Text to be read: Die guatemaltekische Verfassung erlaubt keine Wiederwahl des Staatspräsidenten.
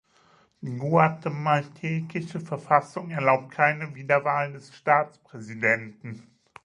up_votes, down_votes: 1, 2